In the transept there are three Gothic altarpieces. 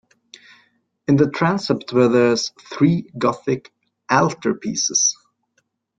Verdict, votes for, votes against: rejected, 0, 2